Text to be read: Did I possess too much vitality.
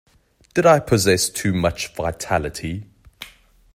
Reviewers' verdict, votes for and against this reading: accepted, 2, 0